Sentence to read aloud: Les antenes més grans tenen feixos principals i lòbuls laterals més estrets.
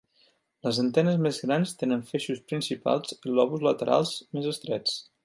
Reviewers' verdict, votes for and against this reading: accepted, 2, 0